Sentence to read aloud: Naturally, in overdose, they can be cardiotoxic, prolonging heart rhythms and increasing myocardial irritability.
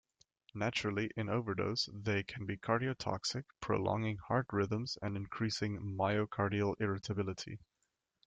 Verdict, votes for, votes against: accepted, 2, 0